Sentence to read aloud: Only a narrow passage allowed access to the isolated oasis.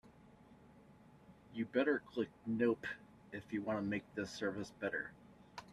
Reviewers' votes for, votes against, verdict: 0, 2, rejected